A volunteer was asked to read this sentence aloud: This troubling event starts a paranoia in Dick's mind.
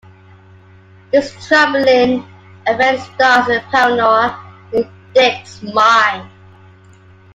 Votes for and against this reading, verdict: 2, 1, accepted